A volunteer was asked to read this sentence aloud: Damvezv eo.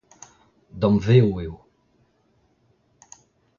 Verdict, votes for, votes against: accepted, 2, 0